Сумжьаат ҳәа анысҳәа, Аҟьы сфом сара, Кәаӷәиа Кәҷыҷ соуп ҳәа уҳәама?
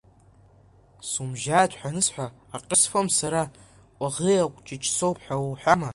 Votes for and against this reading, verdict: 2, 1, accepted